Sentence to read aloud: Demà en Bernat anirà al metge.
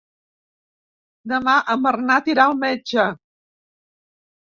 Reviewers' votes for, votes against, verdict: 1, 2, rejected